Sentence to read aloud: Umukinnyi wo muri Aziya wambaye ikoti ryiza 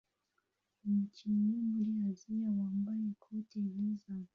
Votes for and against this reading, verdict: 1, 2, rejected